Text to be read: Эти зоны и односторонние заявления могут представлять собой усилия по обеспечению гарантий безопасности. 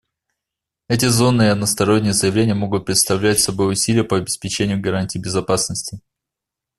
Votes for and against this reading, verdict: 2, 0, accepted